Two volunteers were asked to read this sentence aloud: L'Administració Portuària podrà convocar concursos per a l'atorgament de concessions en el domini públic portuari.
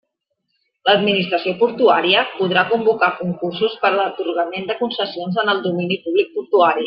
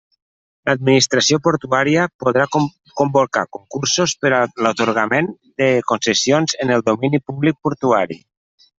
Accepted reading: first